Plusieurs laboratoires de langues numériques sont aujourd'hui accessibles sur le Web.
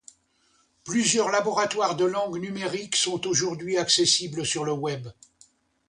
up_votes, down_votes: 2, 0